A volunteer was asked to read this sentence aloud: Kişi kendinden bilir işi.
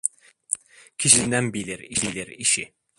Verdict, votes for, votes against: rejected, 0, 2